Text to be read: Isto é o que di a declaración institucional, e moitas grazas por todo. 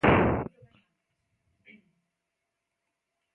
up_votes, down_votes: 0, 2